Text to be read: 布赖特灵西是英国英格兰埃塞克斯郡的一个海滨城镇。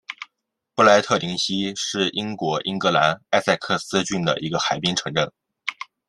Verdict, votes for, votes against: accepted, 2, 0